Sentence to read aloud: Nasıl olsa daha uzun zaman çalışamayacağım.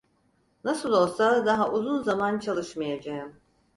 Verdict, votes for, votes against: rejected, 0, 4